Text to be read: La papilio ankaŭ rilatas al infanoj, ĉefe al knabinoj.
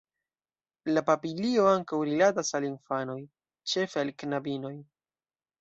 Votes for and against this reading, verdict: 2, 0, accepted